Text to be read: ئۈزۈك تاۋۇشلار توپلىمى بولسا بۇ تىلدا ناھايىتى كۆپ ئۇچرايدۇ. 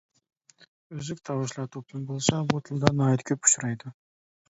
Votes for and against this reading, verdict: 2, 1, accepted